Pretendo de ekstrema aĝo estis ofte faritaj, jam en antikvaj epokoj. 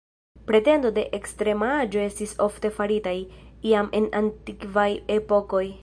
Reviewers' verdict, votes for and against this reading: accepted, 2, 0